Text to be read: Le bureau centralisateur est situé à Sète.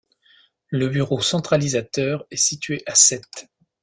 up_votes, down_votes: 2, 0